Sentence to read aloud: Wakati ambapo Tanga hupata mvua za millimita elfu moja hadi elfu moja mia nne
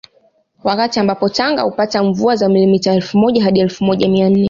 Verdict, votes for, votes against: accepted, 2, 0